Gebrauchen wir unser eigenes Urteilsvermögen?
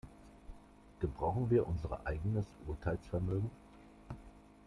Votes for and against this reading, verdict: 1, 2, rejected